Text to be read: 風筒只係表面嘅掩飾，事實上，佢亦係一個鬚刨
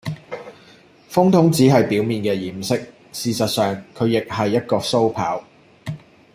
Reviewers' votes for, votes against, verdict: 2, 0, accepted